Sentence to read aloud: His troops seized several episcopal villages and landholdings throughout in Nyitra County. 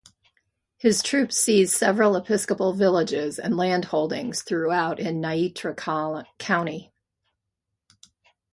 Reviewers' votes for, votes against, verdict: 0, 2, rejected